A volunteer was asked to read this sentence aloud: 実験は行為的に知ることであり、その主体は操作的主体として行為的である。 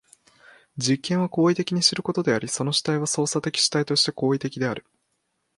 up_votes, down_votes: 2, 0